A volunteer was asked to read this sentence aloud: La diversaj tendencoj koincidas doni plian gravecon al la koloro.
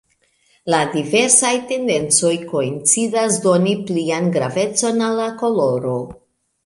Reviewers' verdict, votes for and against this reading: accepted, 2, 0